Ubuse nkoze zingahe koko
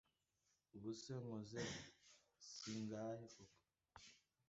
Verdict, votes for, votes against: rejected, 0, 2